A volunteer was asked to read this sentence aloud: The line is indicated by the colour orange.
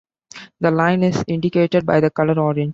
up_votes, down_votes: 1, 2